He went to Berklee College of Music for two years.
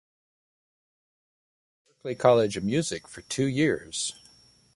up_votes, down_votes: 0, 2